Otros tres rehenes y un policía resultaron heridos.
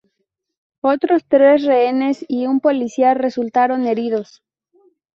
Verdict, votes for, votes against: accepted, 2, 0